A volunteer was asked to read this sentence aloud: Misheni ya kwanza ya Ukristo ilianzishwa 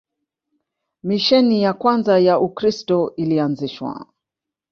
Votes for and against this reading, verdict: 4, 0, accepted